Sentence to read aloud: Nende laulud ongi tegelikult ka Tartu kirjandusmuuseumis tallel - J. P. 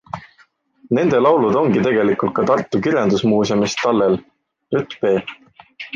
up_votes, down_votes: 2, 0